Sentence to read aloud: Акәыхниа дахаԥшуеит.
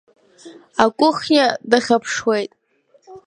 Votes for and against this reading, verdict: 1, 2, rejected